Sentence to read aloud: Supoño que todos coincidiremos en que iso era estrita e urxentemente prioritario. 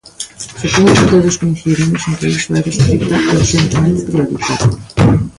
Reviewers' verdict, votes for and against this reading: rejected, 0, 2